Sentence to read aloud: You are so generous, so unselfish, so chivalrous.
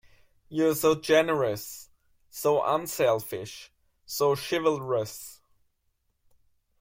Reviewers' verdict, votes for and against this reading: accepted, 2, 0